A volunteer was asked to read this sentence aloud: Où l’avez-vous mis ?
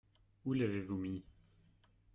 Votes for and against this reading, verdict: 1, 2, rejected